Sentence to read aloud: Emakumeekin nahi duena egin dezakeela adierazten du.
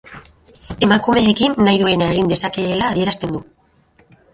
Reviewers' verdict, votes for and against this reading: rejected, 2, 2